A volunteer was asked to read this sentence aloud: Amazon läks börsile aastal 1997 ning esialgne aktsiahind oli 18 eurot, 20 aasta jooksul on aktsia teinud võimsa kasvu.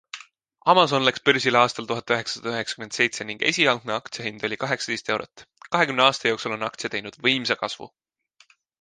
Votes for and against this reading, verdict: 0, 2, rejected